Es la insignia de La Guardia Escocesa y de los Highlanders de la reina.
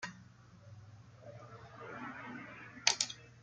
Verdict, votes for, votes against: rejected, 0, 2